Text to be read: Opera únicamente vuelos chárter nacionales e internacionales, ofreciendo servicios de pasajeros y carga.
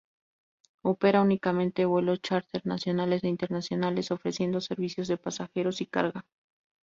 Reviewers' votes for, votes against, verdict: 2, 0, accepted